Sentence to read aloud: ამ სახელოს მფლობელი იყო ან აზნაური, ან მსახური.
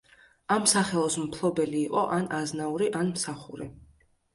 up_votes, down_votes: 2, 0